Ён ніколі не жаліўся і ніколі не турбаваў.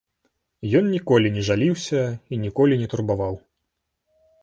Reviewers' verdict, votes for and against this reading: rejected, 0, 3